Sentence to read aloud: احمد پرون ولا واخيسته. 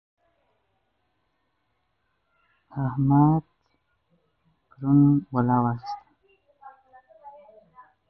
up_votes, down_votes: 0, 2